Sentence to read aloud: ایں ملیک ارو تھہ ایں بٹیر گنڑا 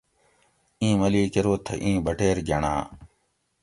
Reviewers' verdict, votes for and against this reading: accepted, 2, 0